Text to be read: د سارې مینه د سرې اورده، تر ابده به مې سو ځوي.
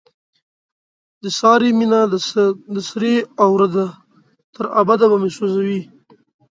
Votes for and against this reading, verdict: 1, 2, rejected